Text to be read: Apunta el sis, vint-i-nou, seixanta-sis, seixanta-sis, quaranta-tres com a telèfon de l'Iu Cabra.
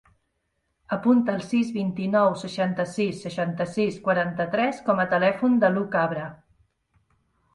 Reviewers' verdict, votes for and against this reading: rejected, 1, 2